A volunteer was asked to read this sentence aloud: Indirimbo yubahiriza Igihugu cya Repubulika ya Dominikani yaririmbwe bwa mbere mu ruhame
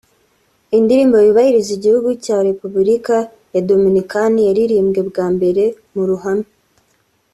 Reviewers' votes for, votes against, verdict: 4, 0, accepted